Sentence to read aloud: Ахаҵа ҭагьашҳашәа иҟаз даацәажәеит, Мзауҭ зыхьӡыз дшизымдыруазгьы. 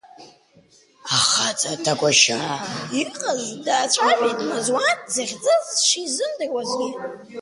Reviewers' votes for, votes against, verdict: 0, 2, rejected